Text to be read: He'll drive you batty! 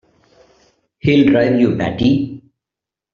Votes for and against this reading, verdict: 2, 1, accepted